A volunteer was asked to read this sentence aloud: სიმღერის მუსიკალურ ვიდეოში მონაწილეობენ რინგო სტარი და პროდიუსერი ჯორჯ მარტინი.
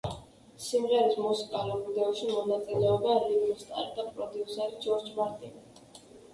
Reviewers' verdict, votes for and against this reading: rejected, 1, 2